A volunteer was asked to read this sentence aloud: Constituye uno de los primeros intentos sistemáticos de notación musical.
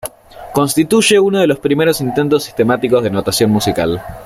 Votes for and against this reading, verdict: 2, 1, accepted